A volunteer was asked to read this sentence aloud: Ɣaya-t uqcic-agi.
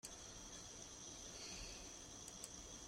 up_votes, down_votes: 0, 2